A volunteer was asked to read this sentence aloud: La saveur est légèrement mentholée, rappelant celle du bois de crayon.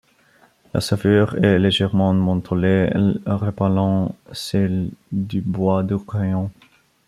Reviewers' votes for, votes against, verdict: 1, 2, rejected